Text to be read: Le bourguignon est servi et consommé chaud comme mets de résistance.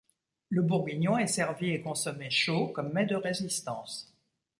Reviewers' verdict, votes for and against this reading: accepted, 2, 0